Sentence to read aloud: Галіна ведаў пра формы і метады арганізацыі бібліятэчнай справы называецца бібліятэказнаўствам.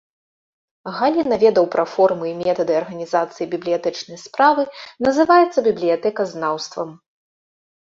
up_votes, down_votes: 1, 2